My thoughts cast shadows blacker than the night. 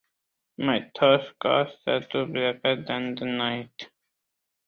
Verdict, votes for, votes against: rejected, 0, 2